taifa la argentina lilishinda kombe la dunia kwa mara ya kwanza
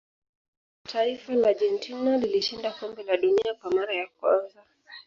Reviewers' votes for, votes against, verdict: 2, 0, accepted